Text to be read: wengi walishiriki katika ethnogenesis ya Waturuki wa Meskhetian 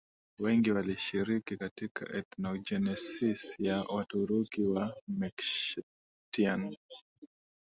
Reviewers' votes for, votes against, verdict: 2, 0, accepted